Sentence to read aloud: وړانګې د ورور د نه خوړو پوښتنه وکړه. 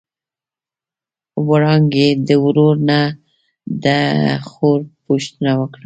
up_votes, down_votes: 1, 2